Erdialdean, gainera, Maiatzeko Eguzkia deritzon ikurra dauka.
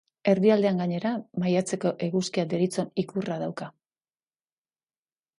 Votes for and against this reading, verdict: 2, 0, accepted